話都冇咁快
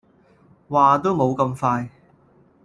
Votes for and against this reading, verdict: 2, 0, accepted